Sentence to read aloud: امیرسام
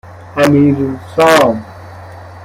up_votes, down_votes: 1, 2